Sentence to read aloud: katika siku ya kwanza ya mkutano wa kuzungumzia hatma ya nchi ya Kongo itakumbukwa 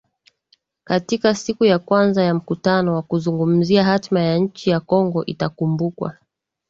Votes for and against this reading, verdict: 2, 0, accepted